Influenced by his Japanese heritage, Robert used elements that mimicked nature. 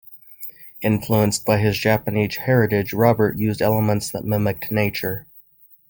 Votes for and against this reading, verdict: 1, 2, rejected